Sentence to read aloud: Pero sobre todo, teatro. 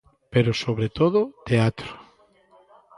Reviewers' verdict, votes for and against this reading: rejected, 1, 2